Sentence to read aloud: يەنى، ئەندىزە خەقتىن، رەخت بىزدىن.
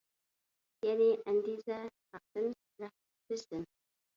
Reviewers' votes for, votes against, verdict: 1, 2, rejected